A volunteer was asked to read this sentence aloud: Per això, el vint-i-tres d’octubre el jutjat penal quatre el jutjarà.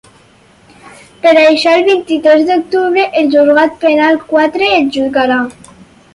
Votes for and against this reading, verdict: 0, 4, rejected